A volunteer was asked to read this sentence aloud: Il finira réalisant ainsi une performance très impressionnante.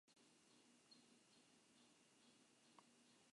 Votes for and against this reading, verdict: 0, 2, rejected